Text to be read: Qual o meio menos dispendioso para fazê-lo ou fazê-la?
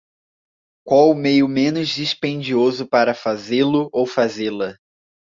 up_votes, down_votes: 2, 0